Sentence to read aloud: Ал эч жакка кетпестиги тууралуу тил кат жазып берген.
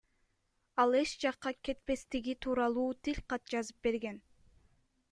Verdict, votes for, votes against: accepted, 2, 0